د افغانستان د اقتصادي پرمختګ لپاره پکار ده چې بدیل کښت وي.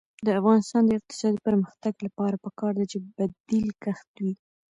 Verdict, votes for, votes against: rejected, 1, 2